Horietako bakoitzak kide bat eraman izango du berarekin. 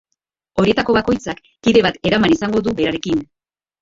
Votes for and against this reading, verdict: 0, 4, rejected